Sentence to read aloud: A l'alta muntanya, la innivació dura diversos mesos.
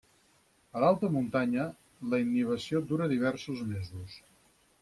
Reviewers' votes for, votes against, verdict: 4, 0, accepted